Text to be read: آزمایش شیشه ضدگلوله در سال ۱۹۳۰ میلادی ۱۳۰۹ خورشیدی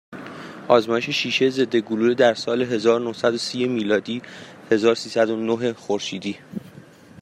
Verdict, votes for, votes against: rejected, 0, 2